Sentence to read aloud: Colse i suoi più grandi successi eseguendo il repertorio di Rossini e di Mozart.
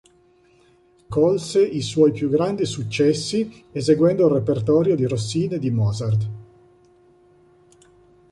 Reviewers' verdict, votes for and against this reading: accepted, 3, 0